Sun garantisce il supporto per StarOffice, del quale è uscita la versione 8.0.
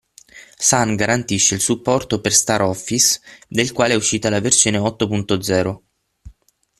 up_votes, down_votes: 0, 2